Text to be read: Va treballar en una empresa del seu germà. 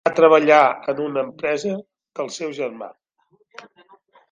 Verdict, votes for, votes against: rejected, 0, 2